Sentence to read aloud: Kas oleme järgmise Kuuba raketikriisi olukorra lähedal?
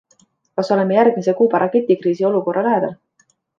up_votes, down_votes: 2, 0